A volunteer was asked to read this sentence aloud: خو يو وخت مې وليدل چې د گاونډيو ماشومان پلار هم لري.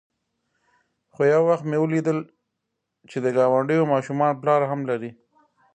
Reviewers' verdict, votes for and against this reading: rejected, 0, 2